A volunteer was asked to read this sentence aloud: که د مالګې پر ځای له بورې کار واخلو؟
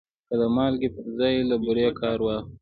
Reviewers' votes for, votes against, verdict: 2, 0, accepted